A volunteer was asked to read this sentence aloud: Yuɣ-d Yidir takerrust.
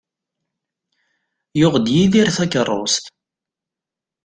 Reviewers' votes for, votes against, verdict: 2, 0, accepted